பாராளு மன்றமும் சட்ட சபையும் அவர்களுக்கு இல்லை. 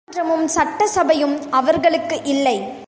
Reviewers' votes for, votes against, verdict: 1, 2, rejected